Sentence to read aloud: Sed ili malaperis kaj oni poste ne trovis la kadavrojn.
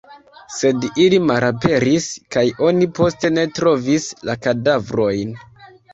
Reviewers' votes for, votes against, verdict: 1, 2, rejected